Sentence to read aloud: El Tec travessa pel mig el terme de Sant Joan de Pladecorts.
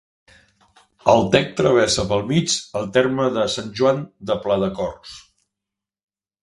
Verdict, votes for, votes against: accepted, 2, 0